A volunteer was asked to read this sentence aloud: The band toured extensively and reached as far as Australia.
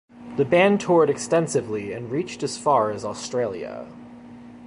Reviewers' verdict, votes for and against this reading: accepted, 2, 0